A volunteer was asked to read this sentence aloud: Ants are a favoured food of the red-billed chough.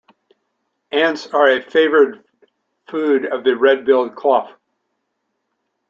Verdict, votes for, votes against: accepted, 2, 0